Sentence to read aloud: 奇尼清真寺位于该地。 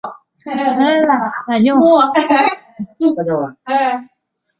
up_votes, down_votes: 0, 6